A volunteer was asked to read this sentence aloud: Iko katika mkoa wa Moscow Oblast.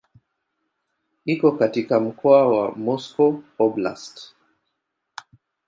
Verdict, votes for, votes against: accepted, 2, 0